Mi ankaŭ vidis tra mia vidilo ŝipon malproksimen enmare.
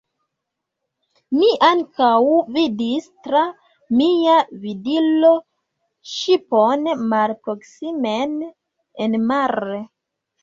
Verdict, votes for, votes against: accepted, 2, 0